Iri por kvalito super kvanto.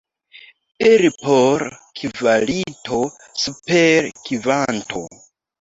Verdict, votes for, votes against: rejected, 1, 2